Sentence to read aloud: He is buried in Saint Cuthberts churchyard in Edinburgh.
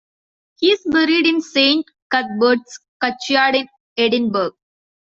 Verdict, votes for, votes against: rejected, 0, 2